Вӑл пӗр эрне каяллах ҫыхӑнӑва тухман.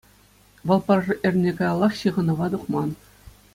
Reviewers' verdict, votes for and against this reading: accepted, 2, 0